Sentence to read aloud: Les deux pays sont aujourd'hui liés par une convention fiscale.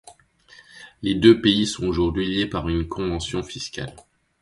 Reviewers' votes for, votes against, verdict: 2, 0, accepted